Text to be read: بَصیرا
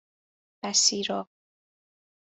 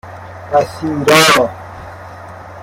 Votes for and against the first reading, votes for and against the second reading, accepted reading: 2, 0, 1, 2, first